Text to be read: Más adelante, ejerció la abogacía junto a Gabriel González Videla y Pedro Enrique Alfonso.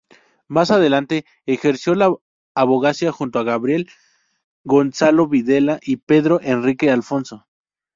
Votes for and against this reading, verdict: 0, 2, rejected